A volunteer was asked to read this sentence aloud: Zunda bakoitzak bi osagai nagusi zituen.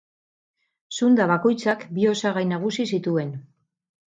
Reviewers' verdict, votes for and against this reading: rejected, 2, 2